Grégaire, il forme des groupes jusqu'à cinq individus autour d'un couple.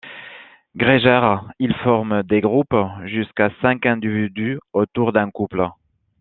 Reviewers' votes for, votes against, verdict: 2, 1, accepted